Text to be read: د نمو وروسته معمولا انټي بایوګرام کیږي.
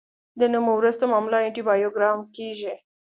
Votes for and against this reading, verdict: 3, 0, accepted